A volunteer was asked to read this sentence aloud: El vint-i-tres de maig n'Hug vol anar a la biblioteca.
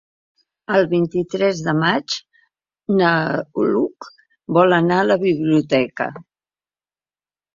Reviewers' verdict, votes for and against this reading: rejected, 0, 2